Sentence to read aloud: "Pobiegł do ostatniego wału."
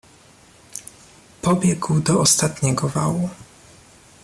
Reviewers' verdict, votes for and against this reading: accepted, 2, 0